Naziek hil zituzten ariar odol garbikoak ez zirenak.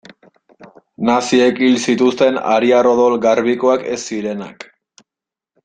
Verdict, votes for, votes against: accepted, 2, 0